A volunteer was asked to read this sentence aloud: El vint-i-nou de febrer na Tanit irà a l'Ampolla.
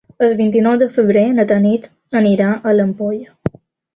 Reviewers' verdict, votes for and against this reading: rejected, 0, 2